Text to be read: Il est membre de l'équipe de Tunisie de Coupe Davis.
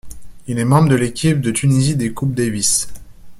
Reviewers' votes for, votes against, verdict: 1, 2, rejected